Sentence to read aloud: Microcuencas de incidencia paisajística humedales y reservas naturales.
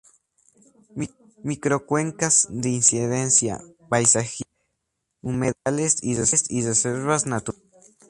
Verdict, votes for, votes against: rejected, 0, 4